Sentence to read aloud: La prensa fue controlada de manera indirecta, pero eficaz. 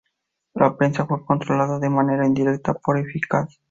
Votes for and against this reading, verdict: 0, 2, rejected